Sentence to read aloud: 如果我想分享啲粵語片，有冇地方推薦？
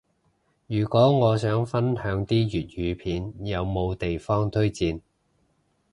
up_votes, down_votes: 2, 0